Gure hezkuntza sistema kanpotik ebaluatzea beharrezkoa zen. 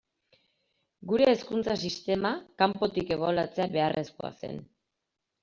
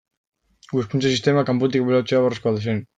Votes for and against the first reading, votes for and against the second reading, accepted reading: 2, 0, 1, 2, first